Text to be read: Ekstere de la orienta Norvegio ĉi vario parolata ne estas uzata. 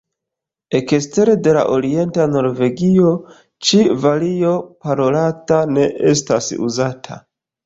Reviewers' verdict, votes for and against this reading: rejected, 1, 2